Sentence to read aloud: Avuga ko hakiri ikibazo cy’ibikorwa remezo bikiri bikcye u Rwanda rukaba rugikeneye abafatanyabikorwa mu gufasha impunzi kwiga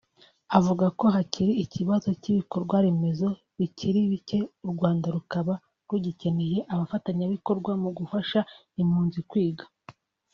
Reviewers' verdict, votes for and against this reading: accepted, 2, 1